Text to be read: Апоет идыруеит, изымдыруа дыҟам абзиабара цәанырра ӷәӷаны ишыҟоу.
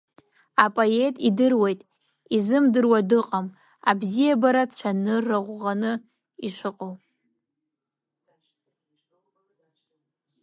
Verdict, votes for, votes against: accepted, 2, 0